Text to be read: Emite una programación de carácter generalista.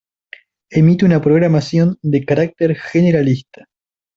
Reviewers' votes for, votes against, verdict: 2, 0, accepted